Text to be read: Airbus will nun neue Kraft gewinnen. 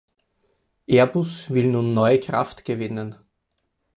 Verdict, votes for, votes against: accepted, 4, 0